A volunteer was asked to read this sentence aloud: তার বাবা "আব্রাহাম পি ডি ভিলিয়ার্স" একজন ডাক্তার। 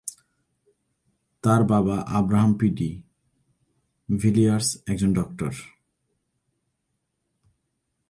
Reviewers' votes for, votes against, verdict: 1, 2, rejected